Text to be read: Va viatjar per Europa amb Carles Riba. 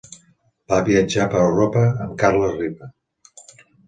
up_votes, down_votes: 2, 0